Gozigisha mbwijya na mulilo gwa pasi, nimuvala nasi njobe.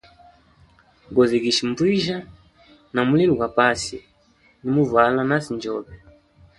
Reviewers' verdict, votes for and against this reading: rejected, 1, 2